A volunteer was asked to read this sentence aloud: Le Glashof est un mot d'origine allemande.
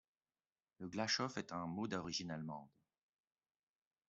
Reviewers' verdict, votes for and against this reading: accepted, 2, 0